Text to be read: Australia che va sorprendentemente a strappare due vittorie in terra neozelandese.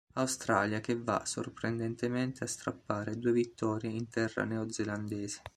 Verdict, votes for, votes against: accepted, 3, 0